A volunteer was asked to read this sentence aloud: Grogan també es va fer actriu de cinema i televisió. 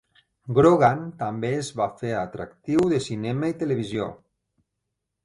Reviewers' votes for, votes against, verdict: 0, 2, rejected